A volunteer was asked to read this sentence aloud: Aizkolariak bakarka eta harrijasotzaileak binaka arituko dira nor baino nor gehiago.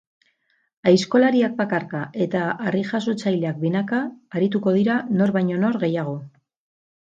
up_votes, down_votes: 2, 0